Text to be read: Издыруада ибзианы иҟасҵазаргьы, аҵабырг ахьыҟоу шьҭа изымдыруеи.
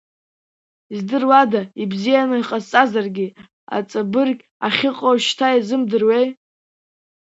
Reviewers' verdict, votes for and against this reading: rejected, 2, 3